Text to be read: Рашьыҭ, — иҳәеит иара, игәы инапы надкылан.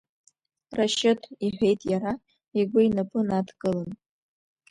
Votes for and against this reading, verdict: 2, 0, accepted